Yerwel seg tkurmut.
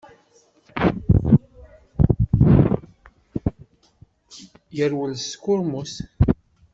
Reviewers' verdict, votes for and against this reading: rejected, 0, 2